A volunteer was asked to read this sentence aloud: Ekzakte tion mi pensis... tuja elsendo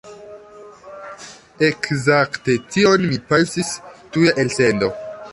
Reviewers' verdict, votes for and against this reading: accepted, 2, 0